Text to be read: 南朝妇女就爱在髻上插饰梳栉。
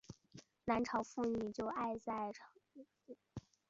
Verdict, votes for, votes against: rejected, 2, 3